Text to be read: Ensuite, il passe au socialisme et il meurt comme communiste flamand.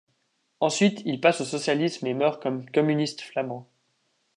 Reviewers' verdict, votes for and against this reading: accepted, 2, 1